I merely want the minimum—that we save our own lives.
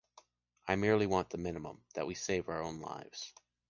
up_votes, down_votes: 2, 0